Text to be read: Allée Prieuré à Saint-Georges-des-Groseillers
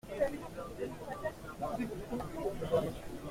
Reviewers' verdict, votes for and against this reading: rejected, 0, 2